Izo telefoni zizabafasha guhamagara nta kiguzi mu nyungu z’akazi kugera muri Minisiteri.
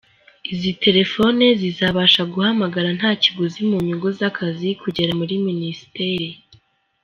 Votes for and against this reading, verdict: 2, 0, accepted